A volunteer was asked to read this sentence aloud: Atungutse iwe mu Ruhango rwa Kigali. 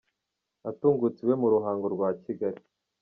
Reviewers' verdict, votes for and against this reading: accepted, 2, 0